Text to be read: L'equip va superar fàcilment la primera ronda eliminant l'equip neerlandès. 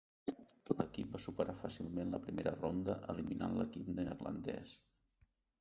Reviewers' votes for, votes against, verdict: 1, 2, rejected